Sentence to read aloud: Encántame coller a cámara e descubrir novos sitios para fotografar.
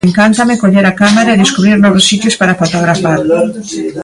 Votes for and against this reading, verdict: 2, 1, accepted